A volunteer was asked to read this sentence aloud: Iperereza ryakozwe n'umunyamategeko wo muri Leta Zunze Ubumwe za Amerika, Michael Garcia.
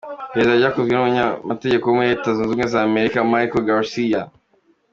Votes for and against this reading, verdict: 2, 1, accepted